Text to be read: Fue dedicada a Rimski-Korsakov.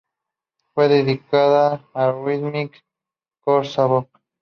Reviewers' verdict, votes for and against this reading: rejected, 2, 2